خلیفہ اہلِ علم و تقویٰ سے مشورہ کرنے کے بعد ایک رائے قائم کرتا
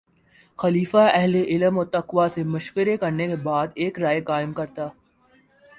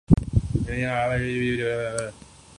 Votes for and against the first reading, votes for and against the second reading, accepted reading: 2, 0, 1, 2, first